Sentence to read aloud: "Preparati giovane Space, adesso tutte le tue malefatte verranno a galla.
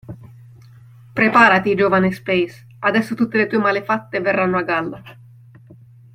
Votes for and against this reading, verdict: 2, 0, accepted